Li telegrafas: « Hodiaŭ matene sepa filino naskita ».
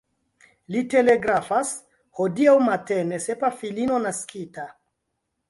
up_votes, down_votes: 1, 2